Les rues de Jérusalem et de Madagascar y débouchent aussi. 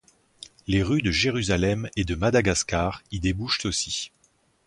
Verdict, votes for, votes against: accepted, 4, 0